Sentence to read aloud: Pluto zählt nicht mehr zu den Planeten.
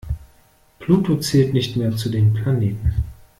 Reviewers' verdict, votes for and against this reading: accepted, 2, 0